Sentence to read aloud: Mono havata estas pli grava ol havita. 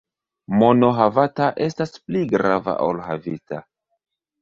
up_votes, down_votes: 2, 1